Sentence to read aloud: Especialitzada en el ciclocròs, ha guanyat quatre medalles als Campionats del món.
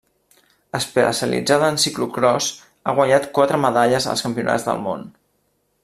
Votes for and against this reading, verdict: 1, 2, rejected